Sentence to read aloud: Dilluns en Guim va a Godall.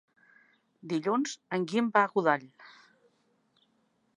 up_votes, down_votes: 2, 1